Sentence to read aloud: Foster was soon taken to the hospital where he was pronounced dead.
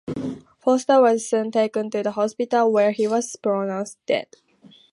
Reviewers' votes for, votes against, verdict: 4, 0, accepted